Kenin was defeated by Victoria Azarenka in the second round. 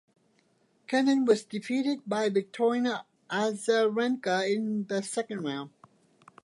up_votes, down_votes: 0, 2